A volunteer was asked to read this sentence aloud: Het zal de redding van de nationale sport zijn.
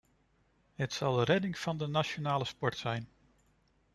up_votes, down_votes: 2, 0